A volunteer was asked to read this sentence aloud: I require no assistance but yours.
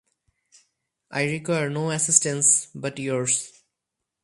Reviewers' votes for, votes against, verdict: 4, 0, accepted